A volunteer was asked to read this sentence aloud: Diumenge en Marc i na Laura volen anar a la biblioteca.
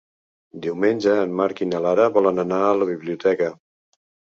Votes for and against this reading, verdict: 0, 2, rejected